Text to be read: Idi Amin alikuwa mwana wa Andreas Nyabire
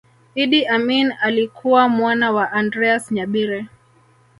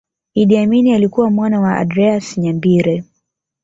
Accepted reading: second